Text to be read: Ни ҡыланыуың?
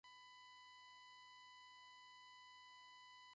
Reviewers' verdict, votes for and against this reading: rejected, 0, 2